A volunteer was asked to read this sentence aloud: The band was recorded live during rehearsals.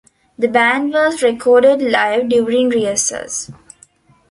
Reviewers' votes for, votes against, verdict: 2, 1, accepted